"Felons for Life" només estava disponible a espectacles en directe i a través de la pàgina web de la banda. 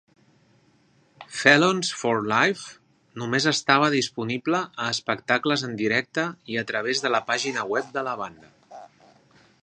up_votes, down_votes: 2, 0